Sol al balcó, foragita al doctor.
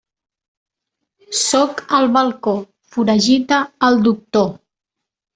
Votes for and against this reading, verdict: 1, 2, rejected